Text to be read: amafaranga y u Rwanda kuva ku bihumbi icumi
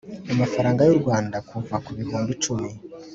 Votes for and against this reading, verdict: 3, 0, accepted